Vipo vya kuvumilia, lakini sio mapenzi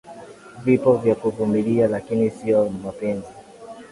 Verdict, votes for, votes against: accepted, 16, 3